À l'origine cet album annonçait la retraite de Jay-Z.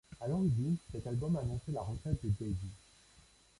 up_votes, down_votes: 1, 2